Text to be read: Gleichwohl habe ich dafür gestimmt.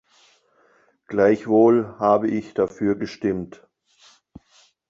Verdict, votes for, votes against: accepted, 2, 0